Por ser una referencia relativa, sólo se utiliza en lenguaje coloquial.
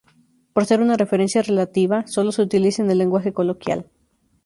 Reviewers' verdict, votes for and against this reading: rejected, 0, 2